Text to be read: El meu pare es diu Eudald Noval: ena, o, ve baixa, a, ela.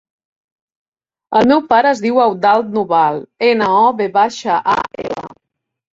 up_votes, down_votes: 1, 2